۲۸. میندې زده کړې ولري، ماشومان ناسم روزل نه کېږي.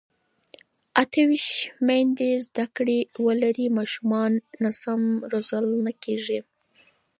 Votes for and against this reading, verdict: 0, 2, rejected